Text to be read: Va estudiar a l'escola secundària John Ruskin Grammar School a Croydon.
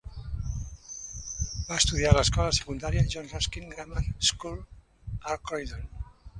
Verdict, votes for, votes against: accepted, 2, 1